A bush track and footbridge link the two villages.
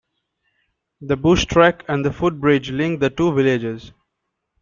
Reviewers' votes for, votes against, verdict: 0, 2, rejected